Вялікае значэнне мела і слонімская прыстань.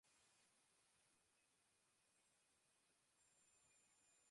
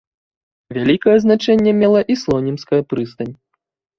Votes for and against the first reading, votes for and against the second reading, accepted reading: 0, 2, 2, 0, second